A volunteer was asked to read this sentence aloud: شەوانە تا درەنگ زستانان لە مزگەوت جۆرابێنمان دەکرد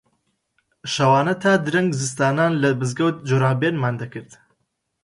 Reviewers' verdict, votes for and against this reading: accepted, 2, 0